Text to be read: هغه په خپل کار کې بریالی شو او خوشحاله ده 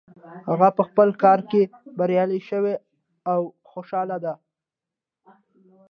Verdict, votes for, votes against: accepted, 2, 0